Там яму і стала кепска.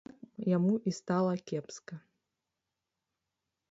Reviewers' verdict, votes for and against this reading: rejected, 1, 2